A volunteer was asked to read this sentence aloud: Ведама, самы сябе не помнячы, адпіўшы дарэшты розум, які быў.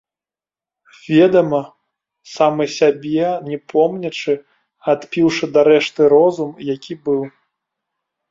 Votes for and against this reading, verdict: 0, 2, rejected